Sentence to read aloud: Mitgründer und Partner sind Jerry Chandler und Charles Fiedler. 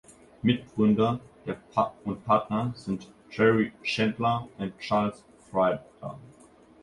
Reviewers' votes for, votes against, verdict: 0, 2, rejected